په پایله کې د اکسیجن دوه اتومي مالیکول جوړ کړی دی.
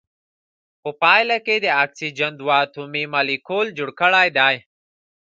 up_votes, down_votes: 1, 2